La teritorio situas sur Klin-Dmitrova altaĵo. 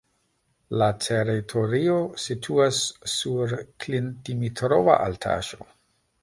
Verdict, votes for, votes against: rejected, 1, 2